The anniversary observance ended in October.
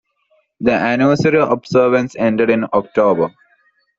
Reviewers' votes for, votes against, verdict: 2, 0, accepted